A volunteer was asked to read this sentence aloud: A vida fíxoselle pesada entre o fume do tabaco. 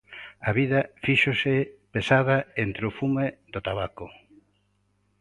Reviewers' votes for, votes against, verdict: 0, 2, rejected